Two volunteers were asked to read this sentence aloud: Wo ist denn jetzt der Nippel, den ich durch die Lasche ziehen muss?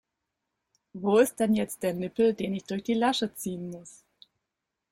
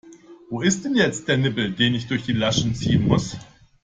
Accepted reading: first